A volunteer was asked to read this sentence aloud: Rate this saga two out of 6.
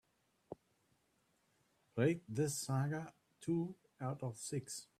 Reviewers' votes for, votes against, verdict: 0, 2, rejected